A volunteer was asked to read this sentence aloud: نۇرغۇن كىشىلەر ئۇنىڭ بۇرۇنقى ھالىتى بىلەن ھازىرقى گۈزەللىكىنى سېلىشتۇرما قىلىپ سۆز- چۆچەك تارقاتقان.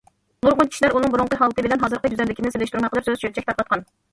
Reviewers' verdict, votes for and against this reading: rejected, 1, 2